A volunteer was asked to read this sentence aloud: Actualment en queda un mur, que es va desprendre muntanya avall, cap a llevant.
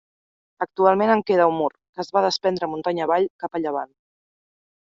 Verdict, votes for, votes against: accepted, 2, 0